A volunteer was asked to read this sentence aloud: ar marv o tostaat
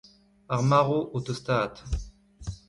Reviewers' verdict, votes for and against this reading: rejected, 0, 2